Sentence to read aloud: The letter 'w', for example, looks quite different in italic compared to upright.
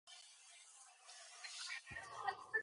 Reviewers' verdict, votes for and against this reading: rejected, 0, 2